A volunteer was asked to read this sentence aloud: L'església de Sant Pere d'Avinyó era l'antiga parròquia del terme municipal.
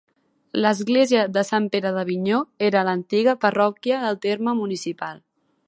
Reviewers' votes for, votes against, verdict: 2, 0, accepted